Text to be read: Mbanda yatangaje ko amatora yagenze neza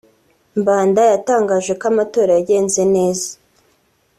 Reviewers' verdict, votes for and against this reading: accepted, 2, 0